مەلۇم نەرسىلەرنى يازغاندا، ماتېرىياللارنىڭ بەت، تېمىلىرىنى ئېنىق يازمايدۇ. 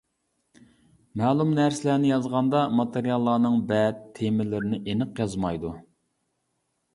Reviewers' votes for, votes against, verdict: 2, 0, accepted